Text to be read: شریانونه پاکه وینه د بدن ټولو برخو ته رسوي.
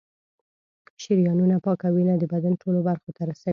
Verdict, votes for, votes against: rejected, 1, 2